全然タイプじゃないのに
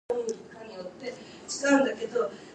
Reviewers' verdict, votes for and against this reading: rejected, 0, 4